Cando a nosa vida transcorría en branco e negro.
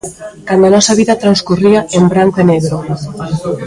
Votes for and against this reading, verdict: 1, 2, rejected